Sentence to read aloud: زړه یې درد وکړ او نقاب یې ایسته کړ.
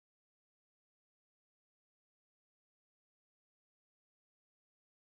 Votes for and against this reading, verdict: 0, 2, rejected